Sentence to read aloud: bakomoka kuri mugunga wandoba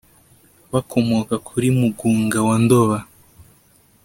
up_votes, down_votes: 2, 0